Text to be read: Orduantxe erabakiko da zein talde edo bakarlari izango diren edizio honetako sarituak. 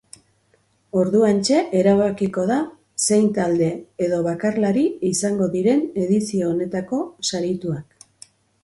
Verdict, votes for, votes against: accepted, 2, 0